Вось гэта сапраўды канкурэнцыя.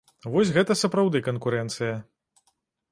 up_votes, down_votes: 2, 0